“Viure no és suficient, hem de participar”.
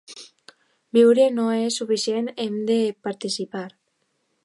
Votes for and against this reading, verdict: 2, 0, accepted